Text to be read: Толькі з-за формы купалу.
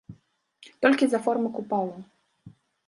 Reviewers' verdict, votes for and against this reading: rejected, 1, 2